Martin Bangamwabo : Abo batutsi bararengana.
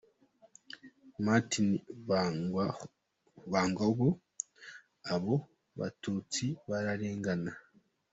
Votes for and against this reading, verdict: 2, 1, accepted